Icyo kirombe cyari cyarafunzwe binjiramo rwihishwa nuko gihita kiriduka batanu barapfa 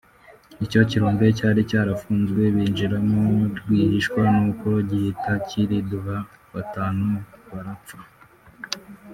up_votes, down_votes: 0, 2